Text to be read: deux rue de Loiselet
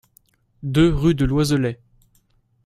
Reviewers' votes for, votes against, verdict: 2, 0, accepted